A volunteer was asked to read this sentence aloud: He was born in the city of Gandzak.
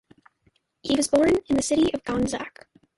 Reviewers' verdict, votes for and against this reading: accepted, 2, 0